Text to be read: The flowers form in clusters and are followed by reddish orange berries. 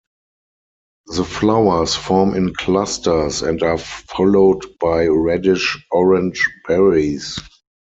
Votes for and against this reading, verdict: 4, 0, accepted